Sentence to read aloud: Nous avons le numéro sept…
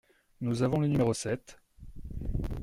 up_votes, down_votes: 2, 0